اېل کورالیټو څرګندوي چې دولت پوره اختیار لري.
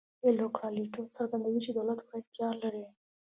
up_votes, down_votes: 2, 0